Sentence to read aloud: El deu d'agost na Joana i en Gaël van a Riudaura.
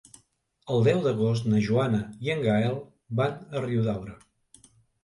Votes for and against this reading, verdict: 2, 0, accepted